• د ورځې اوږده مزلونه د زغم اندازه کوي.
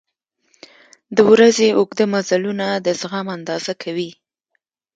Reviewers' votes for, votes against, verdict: 2, 1, accepted